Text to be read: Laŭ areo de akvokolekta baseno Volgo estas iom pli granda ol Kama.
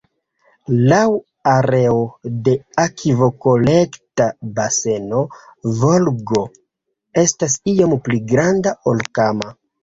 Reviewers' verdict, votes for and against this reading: accepted, 2, 1